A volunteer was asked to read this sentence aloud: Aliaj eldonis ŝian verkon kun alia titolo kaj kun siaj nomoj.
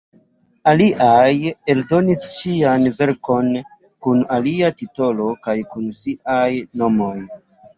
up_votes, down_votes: 2, 0